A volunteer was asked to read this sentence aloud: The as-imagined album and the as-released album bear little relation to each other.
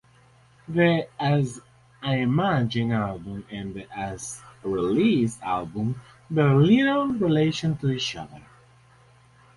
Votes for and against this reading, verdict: 0, 2, rejected